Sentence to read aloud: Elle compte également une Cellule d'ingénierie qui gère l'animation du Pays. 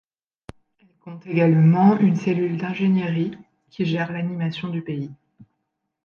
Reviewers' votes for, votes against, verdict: 1, 2, rejected